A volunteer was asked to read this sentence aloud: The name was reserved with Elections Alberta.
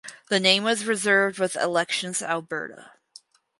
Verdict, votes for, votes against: rejected, 2, 2